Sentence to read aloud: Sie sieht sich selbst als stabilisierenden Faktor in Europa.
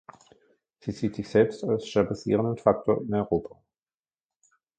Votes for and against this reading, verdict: 1, 2, rejected